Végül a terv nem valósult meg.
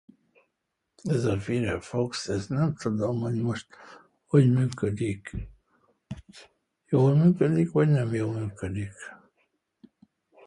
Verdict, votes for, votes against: rejected, 0, 2